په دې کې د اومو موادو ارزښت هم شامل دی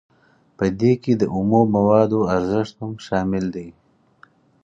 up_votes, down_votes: 4, 0